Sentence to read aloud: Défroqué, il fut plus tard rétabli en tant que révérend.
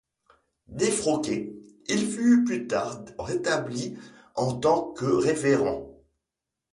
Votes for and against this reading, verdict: 0, 2, rejected